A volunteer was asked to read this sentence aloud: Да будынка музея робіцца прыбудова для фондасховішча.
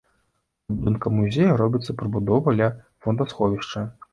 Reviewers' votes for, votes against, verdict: 0, 2, rejected